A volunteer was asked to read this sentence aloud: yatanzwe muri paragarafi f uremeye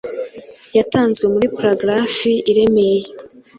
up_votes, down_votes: 0, 2